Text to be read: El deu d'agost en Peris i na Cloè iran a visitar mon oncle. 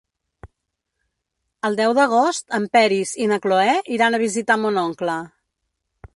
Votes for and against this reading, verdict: 4, 0, accepted